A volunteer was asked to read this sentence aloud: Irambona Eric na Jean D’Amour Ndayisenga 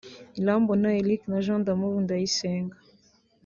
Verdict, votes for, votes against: accepted, 2, 0